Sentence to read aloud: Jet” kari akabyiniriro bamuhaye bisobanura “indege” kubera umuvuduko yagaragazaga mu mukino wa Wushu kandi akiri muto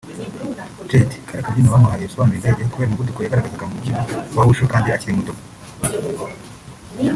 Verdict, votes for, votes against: rejected, 1, 2